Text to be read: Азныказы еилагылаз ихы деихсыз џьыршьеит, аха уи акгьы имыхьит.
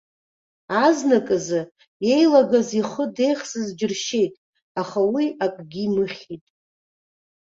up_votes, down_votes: 1, 2